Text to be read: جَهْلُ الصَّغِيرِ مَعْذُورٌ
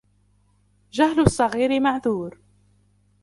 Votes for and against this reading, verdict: 2, 0, accepted